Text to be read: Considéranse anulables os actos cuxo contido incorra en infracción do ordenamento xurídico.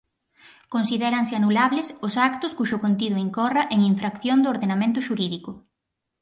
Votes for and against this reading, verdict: 4, 0, accepted